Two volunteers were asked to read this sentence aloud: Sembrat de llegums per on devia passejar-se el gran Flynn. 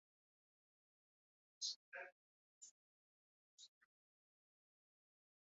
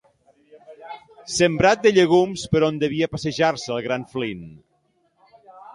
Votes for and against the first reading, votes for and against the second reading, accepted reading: 0, 2, 2, 0, second